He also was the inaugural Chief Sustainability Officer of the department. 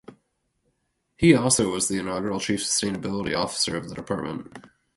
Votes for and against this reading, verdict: 2, 0, accepted